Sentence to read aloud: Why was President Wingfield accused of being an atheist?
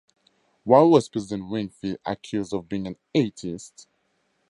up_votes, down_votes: 0, 2